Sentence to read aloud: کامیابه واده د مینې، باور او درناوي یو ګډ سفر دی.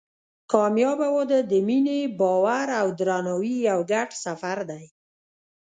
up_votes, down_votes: 1, 2